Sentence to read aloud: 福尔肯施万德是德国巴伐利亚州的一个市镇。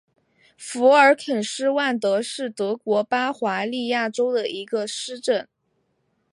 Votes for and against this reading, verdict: 2, 0, accepted